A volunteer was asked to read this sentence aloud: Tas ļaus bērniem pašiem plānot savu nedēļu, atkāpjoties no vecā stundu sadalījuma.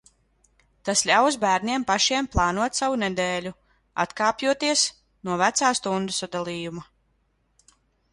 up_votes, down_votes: 2, 0